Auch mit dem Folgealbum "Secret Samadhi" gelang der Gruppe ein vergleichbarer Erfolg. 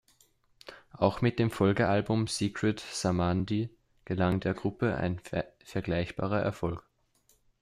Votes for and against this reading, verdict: 1, 2, rejected